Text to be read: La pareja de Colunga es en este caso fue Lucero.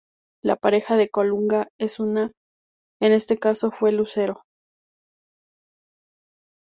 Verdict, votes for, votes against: rejected, 0, 2